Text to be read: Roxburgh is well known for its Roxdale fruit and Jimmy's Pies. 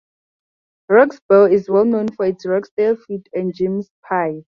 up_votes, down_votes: 4, 0